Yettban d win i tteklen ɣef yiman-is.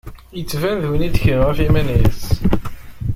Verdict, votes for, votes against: rejected, 1, 2